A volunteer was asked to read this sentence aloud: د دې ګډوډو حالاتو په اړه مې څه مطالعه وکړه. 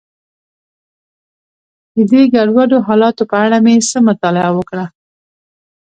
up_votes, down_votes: 2, 0